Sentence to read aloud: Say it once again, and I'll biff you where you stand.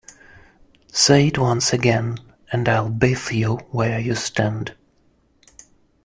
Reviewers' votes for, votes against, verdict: 2, 0, accepted